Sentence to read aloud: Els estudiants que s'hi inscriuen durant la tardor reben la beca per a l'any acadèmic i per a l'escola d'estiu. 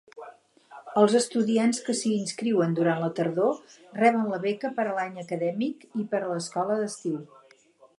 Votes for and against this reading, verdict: 8, 0, accepted